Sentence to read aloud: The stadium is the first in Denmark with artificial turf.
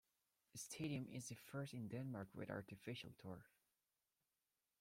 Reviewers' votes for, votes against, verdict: 0, 2, rejected